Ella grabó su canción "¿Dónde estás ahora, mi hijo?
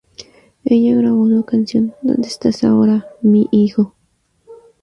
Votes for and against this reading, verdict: 4, 0, accepted